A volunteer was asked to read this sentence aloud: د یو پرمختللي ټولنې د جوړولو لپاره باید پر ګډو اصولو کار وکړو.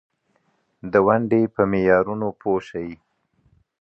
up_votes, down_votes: 0, 2